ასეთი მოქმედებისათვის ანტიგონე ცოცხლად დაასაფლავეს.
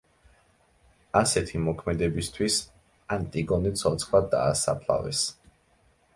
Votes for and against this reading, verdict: 2, 0, accepted